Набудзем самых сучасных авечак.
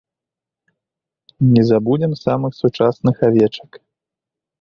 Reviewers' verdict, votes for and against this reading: rejected, 0, 2